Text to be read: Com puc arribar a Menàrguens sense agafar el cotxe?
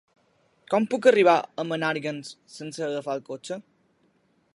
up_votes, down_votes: 2, 0